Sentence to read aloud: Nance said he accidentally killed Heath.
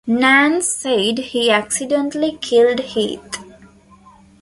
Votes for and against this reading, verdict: 2, 0, accepted